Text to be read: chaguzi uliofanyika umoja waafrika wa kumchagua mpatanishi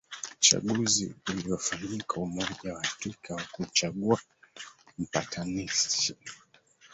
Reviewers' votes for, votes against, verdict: 0, 2, rejected